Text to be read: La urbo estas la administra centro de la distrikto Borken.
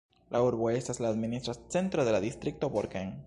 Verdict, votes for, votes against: rejected, 1, 2